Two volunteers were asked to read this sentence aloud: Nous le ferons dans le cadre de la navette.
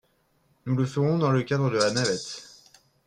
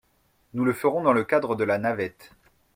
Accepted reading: second